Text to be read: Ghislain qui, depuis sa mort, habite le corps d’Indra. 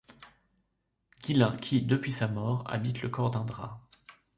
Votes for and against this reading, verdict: 0, 2, rejected